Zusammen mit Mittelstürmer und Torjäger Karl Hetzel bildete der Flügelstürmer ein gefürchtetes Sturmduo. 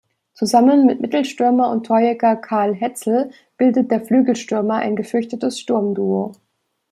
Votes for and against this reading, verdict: 1, 2, rejected